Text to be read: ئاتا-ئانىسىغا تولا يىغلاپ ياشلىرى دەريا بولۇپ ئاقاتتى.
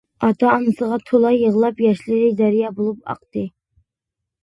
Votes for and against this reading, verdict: 0, 2, rejected